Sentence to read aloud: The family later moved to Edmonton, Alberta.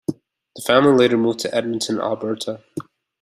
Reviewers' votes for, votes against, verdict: 2, 0, accepted